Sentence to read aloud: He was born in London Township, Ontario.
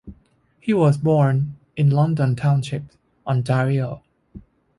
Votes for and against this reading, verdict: 2, 0, accepted